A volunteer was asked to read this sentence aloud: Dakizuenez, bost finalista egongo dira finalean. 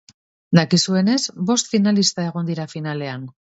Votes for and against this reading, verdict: 2, 2, rejected